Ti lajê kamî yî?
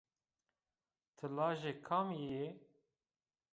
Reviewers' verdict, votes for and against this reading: rejected, 0, 2